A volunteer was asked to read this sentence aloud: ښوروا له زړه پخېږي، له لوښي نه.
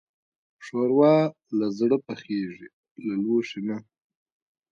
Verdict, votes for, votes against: rejected, 0, 2